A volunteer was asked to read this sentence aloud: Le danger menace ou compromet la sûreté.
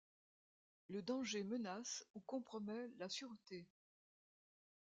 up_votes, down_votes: 1, 2